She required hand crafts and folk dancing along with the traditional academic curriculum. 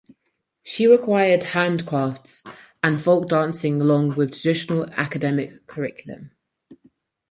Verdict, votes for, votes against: accepted, 4, 2